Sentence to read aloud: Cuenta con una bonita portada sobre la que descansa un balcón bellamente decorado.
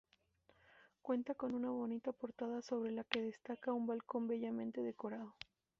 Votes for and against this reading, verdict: 4, 0, accepted